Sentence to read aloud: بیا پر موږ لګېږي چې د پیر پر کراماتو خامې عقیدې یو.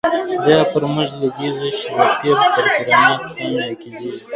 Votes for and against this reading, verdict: 1, 2, rejected